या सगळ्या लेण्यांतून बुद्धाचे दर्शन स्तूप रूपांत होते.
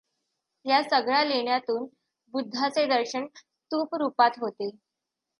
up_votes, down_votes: 2, 0